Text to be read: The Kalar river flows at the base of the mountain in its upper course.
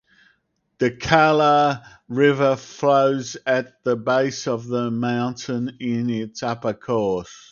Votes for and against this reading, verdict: 4, 0, accepted